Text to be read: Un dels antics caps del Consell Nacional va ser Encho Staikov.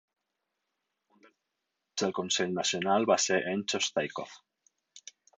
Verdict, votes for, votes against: rejected, 2, 8